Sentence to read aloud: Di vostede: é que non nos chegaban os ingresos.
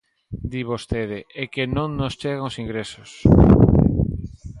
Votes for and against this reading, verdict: 1, 2, rejected